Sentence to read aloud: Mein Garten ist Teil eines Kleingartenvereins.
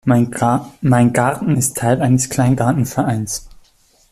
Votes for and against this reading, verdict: 0, 2, rejected